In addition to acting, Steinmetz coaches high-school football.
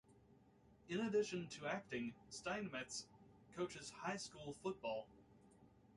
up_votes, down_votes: 0, 2